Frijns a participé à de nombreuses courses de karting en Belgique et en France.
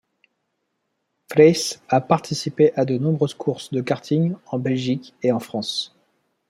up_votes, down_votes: 2, 0